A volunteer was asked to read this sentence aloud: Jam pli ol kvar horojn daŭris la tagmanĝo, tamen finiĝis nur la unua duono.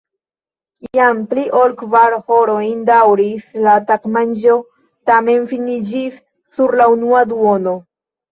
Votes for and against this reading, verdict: 1, 2, rejected